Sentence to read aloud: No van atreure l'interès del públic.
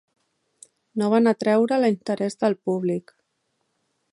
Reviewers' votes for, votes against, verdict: 0, 2, rejected